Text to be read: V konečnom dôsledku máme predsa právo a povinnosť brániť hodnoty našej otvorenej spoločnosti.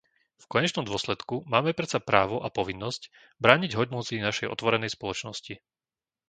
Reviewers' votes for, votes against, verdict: 0, 2, rejected